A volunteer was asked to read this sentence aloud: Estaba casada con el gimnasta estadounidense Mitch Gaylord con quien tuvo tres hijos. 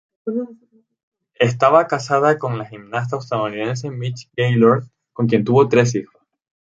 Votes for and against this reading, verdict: 0, 4, rejected